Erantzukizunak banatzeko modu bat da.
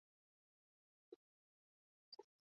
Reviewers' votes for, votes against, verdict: 0, 2, rejected